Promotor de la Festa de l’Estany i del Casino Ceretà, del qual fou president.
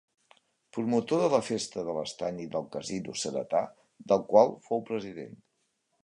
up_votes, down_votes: 3, 0